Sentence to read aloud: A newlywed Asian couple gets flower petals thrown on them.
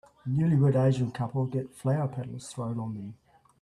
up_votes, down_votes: 0, 2